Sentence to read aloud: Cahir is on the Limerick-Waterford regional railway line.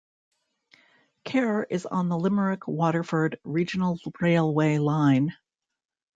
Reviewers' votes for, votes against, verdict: 2, 0, accepted